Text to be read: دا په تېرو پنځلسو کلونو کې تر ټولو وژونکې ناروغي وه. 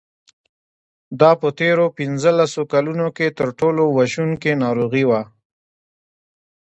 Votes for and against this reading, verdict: 2, 0, accepted